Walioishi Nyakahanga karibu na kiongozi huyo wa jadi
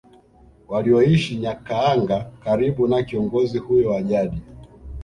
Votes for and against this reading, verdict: 2, 0, accepted